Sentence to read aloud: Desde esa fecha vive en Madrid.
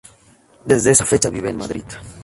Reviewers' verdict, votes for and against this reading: rejected, 2, 2